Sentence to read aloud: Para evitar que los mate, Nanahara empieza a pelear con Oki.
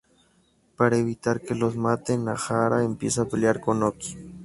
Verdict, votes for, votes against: rejected, 0, 2